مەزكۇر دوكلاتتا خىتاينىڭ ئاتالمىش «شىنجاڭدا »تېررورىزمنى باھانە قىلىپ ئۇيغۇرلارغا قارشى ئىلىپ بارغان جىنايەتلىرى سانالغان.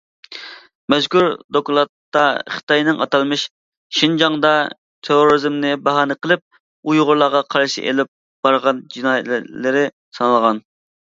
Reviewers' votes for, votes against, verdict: 0, 2, rejected